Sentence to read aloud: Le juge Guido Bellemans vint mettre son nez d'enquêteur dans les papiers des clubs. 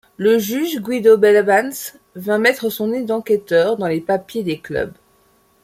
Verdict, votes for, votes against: accepted, 2, 0